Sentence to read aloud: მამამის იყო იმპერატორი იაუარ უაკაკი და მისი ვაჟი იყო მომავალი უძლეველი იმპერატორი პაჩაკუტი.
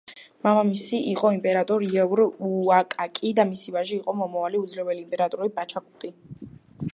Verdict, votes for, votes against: rejected, 1, 2